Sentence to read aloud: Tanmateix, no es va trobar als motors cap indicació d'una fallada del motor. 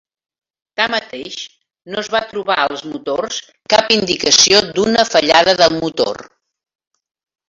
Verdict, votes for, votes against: accepted, 4, 0